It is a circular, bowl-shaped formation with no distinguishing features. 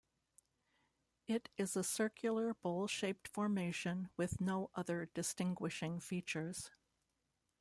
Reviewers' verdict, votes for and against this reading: rejected, 0, 2